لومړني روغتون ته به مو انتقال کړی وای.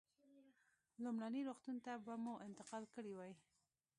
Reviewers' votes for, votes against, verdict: 1, 2, rejected